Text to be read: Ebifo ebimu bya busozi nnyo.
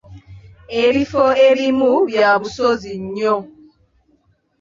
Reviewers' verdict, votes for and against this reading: accepted, 2, 0